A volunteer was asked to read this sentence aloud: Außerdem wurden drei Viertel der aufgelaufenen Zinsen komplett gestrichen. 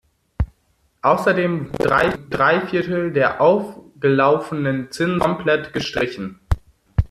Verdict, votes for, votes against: rejected, 0, 2